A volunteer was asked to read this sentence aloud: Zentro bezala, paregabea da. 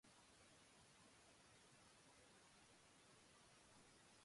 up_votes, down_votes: 1, 3